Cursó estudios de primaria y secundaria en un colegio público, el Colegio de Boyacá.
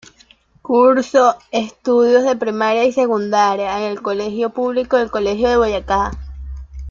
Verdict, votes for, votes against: rejected, 0, 2